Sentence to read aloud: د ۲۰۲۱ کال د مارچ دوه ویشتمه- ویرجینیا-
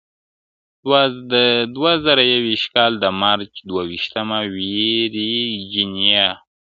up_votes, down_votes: 0, 2